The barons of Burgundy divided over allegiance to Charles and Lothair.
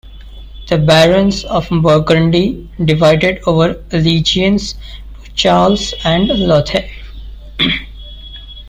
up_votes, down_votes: 2, 1